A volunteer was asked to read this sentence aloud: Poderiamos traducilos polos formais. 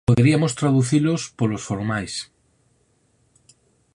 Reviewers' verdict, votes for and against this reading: rejected, 0, 4